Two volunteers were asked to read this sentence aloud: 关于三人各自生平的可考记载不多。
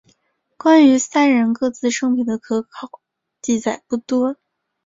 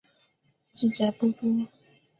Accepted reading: first